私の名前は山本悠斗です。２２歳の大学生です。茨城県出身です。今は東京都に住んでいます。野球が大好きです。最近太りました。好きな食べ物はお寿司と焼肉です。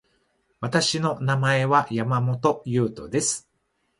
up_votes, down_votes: 0, 2